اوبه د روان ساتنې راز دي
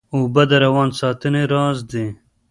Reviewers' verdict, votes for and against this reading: rejected, 1, 2